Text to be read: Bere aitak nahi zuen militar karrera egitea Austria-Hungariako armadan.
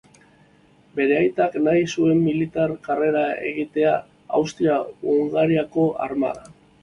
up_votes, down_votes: 2, 0